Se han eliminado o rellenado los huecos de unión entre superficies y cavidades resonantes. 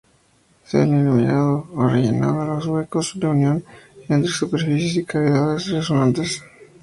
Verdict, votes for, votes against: rejected, 0, 2